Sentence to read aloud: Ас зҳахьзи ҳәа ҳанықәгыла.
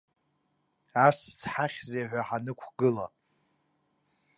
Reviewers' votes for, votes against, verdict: 2, 0, accepted